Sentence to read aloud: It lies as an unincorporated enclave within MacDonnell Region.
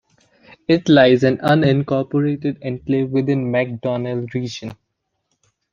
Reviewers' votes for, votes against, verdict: 1, 2, rejected